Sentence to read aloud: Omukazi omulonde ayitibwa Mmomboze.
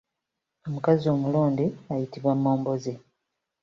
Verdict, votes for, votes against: accepted, 3, 0